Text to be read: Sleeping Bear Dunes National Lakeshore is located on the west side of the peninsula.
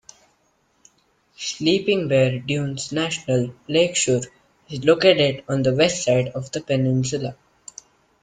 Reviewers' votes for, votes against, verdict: 2, 0, accepted